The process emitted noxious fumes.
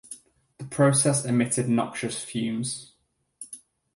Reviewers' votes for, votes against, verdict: 4, 2, accepted